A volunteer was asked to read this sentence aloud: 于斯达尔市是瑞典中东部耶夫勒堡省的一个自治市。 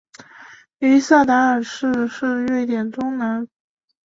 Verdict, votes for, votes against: rejected, 1, 3